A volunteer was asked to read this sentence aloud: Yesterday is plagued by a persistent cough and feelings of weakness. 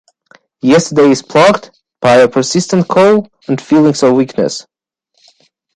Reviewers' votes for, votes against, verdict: 1, 2, rejected